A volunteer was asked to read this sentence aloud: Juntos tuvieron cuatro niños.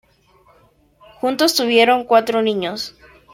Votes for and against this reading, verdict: 3, 0, accepted